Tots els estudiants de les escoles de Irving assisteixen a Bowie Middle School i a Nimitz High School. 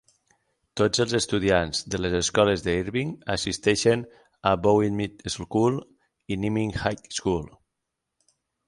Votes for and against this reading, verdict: 6, 0, accepted